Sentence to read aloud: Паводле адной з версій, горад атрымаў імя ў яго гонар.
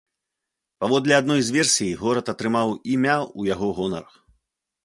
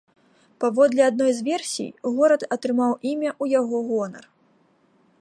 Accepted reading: first